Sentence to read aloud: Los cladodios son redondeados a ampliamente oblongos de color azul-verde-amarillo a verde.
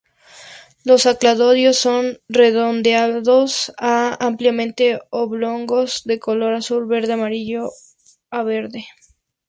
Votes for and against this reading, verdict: 0, 2, rejected